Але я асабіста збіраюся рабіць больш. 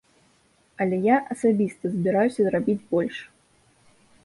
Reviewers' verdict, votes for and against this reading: rejected, 1, 2